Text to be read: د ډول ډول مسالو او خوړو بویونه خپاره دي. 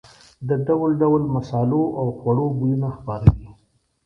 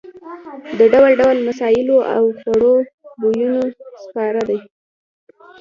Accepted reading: first